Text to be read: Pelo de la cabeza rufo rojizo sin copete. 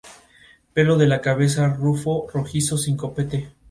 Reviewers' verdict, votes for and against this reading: accepted, 2, 0